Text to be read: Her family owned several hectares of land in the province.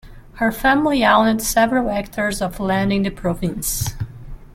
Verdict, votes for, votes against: rejected, 1, 2